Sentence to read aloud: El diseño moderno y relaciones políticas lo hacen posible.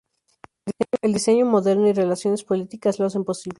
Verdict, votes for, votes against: rejected, 0, 4